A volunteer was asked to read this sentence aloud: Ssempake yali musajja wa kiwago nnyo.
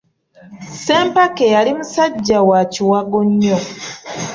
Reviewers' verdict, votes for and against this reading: accepted, 2, 0